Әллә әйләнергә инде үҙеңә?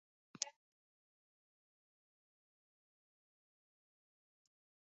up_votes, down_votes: 1, 2